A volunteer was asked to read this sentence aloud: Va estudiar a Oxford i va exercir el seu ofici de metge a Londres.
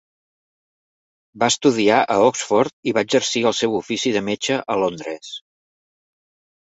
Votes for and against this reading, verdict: 3, 0, accepted